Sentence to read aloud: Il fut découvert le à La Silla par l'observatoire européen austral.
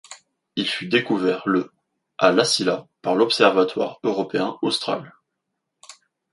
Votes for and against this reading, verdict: 1, 2, rejected